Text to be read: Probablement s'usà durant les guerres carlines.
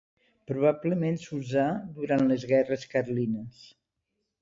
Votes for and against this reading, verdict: 2, 0, accepted